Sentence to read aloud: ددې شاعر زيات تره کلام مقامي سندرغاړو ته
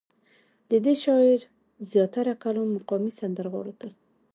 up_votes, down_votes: 1, 2